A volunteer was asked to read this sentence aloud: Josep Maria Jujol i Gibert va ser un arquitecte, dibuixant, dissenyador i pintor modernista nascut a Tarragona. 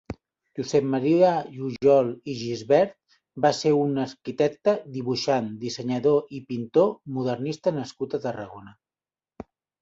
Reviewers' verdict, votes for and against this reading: accepted, 2, 1